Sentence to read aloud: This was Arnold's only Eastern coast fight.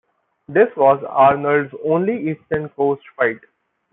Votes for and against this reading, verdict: 2, 0, accepted